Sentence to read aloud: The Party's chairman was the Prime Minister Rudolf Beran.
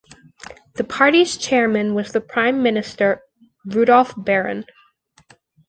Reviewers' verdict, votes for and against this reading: rejected, 1, 2